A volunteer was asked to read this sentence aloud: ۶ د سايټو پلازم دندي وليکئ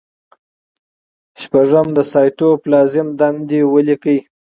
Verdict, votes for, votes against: rejected, 0, 2